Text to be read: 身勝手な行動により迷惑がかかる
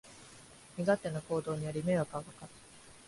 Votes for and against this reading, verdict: 2, 1, accepted